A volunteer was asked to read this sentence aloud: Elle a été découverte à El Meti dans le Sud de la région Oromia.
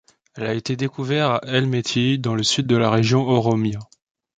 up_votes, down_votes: 1, 2